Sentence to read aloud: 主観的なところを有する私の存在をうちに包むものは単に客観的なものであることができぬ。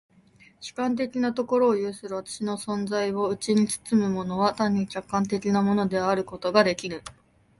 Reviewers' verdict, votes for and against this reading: accepted, 2, 0